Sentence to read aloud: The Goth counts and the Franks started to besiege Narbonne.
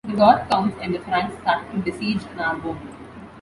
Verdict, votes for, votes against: accepted, 2, 0